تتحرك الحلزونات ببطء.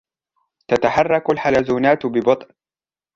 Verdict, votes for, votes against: accepted, 2, 0